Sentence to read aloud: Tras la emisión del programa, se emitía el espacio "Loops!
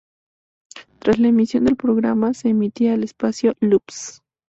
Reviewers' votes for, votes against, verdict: 2, 0, accepted